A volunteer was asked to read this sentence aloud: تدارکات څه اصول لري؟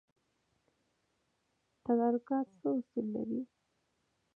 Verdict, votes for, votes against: accepted, 2, 0